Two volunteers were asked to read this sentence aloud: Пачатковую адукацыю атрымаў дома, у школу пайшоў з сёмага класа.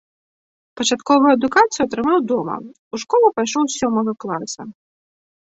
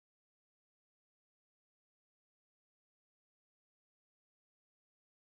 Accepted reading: first